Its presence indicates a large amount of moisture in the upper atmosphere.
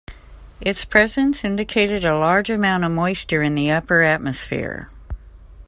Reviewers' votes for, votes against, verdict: 1, 2, rejected